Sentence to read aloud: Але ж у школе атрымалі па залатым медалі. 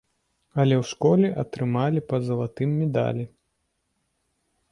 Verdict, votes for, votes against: rejected, 0, 2